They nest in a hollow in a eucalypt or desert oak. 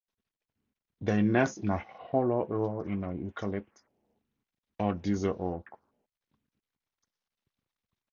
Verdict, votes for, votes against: rejected, 0, 2